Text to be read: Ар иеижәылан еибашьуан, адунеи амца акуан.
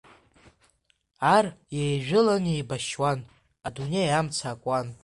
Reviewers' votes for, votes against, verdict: 2, 0, accepted